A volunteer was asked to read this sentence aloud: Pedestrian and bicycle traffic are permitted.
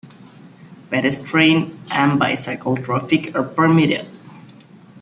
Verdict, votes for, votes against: accepted, 2, 0